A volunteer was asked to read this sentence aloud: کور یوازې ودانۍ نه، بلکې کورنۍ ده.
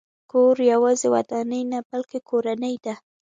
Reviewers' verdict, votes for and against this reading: accepted, 2, 0